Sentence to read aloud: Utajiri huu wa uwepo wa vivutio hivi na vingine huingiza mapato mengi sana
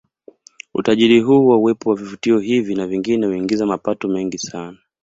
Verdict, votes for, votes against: accepted, 2, 0